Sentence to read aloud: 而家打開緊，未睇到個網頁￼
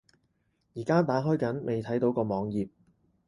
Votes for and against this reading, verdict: 4, 0, accepted